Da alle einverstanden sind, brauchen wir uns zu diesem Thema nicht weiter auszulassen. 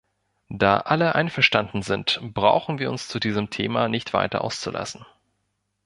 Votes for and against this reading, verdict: 2, 0, accepted